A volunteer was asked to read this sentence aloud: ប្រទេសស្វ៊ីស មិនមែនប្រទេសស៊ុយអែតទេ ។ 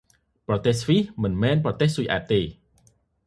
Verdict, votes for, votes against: accepted, 2, 0